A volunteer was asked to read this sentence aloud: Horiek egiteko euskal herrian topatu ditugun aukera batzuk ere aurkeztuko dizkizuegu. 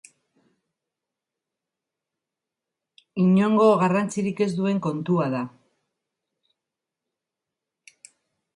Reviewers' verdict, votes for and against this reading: rejected, 0, 2